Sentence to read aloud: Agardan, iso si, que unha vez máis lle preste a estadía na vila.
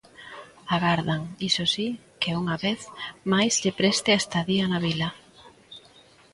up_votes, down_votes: 2, 0